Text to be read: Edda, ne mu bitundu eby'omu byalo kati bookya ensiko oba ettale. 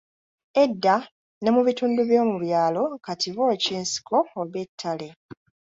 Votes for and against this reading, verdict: 1, 2, rejected